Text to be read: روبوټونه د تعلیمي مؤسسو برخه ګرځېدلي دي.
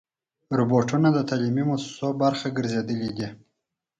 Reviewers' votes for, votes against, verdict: 6, 0, accepted